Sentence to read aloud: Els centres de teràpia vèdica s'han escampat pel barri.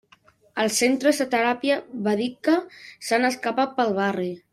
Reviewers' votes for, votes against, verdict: 0, 2, rejected